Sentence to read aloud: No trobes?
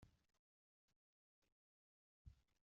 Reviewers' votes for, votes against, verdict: 0, 2, rejected